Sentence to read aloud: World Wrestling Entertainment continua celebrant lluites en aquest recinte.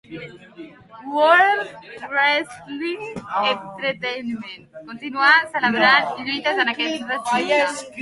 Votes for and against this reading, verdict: 0, 2, rejected